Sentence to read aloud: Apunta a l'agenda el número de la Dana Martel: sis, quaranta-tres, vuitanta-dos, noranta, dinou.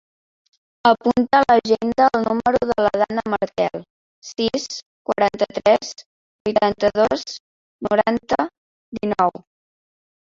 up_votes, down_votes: 2, 4